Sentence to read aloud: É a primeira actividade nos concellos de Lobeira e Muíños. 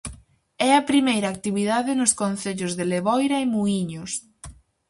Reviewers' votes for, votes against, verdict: 0, 4, rejected